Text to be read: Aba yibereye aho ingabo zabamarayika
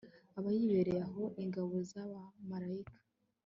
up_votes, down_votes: 2, 0